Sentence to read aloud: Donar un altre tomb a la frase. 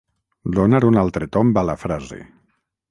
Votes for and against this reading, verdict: 3, 3, rejected